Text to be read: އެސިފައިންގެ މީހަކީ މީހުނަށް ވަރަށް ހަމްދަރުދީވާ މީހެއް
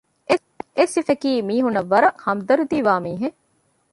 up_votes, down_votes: 0, 2